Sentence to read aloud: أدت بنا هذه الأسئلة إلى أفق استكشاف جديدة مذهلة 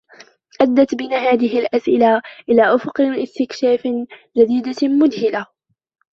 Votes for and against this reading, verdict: 0, 2, rejected